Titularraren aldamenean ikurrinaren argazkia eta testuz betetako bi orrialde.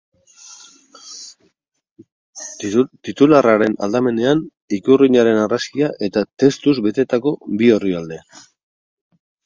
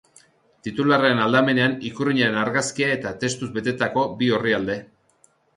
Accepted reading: second